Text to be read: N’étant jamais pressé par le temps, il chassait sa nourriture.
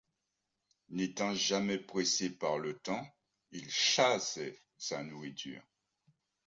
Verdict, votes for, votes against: accepted, 3, 0